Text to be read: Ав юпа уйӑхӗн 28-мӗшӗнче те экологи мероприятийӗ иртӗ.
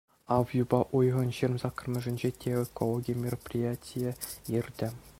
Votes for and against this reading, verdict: 0, 2, rejected